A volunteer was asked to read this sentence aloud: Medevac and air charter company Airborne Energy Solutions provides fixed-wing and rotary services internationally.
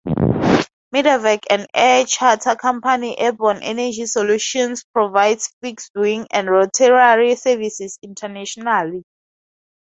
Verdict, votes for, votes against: accepted, 2, 0